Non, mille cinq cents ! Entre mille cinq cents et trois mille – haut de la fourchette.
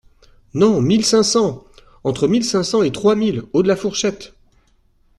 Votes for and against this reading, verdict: 2, 0, accepted